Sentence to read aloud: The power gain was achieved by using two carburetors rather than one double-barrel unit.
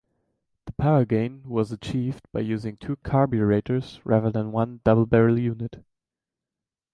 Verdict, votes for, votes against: rejected, 0, 2